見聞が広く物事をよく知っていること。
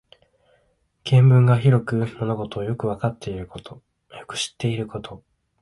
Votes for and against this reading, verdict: 2, 1, accepted